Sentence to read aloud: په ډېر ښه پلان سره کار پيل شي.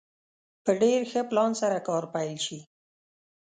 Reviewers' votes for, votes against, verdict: 2, 0, accepted